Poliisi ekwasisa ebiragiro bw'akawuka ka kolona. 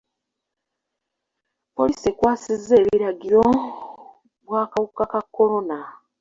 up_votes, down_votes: 0, 2